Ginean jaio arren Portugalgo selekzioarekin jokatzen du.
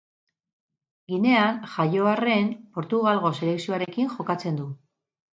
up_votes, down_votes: 2, 2